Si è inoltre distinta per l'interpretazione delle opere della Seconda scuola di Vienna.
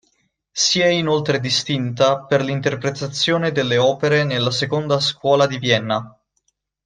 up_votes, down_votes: 2, 0